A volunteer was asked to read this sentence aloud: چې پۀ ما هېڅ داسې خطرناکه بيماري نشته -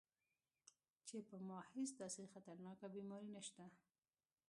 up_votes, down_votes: 2, 0